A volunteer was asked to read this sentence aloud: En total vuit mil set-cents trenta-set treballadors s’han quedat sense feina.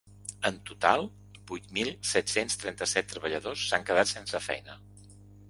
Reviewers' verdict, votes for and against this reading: accepted, 4, 0